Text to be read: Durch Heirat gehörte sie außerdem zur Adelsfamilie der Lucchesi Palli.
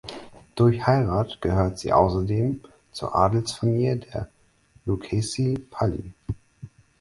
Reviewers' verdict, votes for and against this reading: rejected, 0, 4